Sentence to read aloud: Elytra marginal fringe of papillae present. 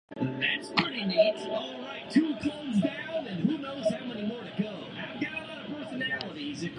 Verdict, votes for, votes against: rejected, 0, 2